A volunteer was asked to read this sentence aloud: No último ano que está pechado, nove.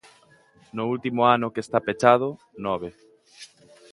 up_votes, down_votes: 2, 0